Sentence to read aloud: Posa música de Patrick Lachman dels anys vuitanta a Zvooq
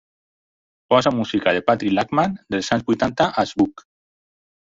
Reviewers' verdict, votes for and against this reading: rejected, 0, 4